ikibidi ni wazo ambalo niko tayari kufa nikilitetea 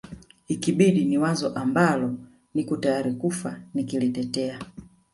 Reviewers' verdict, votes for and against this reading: accepted, 2, 0